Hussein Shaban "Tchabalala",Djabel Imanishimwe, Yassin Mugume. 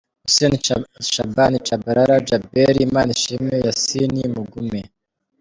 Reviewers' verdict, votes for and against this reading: rejected, 1, 2